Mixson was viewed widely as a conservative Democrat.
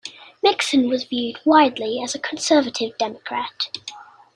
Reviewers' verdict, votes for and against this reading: accepted, 2, 0